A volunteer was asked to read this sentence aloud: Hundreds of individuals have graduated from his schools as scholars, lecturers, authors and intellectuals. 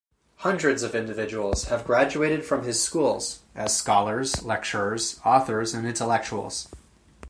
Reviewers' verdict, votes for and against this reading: accepted, 4, 0